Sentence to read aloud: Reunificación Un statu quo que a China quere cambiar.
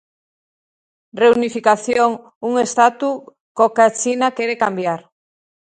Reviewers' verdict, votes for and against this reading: rejected, 0, 2